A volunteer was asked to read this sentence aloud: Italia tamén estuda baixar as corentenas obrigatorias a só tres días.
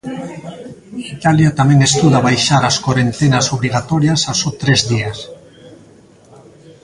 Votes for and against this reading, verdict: 0, 2, rejected